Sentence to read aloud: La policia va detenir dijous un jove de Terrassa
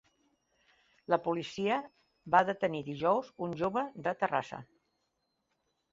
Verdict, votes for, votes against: accepted, 3, 0